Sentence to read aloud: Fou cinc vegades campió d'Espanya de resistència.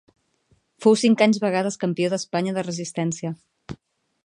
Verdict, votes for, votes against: rejected, 0, 2